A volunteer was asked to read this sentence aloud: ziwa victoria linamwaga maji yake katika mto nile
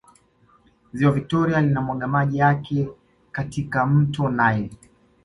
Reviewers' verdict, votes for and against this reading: accepted, 2, 0